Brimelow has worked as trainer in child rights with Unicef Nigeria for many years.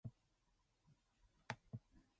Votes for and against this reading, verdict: 0, 2, rejected